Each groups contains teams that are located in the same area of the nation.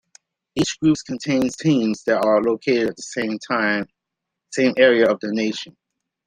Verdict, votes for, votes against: rejected, 0, 2